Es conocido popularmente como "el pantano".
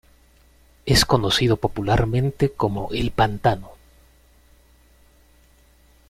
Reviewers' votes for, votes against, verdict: 2, 0, accepted